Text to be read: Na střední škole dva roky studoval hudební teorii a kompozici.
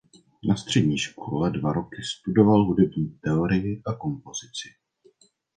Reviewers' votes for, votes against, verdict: 2, 1, accepted